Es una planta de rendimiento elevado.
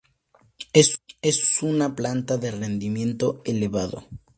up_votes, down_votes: 2, 2